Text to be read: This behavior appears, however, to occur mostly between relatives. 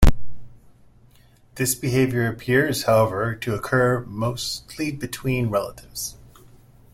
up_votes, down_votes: 2, 0